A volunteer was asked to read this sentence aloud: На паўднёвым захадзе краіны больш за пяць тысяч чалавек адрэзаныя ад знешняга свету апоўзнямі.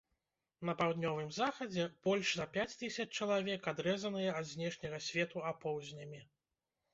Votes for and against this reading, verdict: 0, 2, rejected